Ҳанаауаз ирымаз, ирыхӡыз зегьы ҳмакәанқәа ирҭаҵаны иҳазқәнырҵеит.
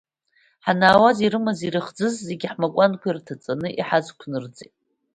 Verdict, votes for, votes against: accepted, 2, 0